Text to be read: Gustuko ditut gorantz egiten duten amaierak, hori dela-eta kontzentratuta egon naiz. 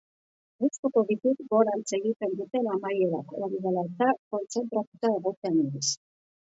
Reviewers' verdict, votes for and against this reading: rejected, 1, 3